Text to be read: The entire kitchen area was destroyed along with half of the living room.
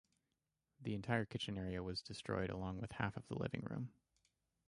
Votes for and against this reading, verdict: 4, 2, accepted